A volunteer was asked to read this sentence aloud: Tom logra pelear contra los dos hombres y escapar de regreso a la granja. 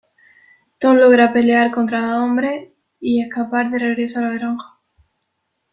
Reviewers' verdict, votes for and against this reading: rejected, 0, 2